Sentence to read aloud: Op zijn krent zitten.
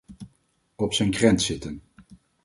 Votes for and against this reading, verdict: 4, 0, accepted